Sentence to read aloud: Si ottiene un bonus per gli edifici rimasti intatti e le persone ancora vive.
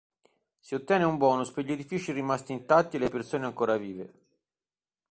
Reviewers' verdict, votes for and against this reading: accepted, 3, 1